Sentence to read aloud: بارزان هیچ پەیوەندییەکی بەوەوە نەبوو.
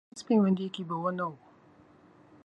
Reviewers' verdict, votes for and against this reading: rejected, 0, 2